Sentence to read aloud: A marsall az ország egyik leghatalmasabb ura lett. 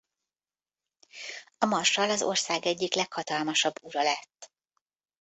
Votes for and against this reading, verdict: 3, 0, accepted